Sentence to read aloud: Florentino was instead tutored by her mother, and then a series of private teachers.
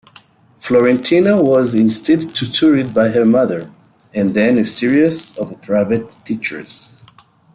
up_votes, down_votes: 2, 1